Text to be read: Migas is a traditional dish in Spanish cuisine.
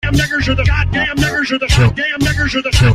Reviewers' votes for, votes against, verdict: 0, 2, rejected